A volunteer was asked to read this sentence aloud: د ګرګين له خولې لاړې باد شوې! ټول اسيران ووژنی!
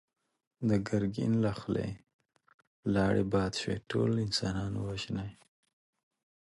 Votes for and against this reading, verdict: 1, 2, rejected